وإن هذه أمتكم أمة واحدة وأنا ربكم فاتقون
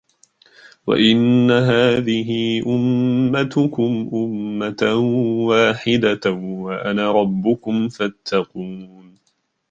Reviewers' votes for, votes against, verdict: 2, 3, rejected